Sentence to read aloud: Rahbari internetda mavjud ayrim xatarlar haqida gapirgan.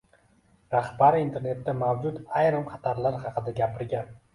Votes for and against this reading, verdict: 2, 0, accepted